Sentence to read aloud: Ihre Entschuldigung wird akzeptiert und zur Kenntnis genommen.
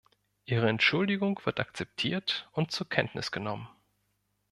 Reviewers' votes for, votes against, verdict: 2, 0, accepted